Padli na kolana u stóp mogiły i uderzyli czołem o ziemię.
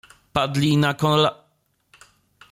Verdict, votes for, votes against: rejected, 0, 2